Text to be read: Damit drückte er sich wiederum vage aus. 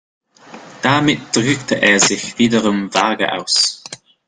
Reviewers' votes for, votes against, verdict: 2, 1, accepted